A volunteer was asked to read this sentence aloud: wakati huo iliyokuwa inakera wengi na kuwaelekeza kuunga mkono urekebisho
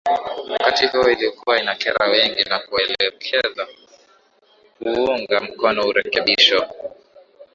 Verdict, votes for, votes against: rejected, 0, 2